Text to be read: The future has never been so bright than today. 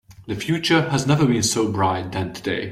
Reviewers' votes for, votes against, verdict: 2, 0, accepted